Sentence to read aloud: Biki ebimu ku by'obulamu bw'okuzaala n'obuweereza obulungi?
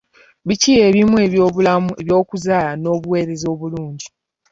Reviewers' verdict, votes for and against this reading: rejected, 1, 2